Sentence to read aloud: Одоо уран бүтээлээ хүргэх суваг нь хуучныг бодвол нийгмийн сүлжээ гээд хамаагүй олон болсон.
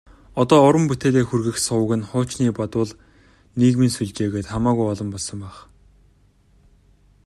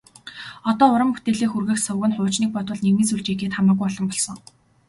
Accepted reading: second